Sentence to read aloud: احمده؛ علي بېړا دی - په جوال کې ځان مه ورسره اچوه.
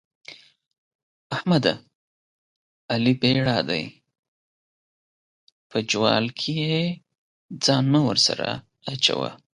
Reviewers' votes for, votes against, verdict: 2, 0, accepted